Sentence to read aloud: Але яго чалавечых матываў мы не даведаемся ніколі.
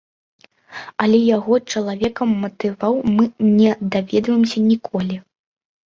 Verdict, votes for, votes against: rejected, 1, 2